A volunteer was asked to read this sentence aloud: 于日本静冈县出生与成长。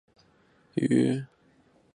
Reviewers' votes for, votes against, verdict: 0, 5, rejected